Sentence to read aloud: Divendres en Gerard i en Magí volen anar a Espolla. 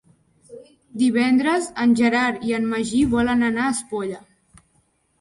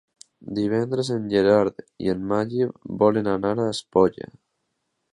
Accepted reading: first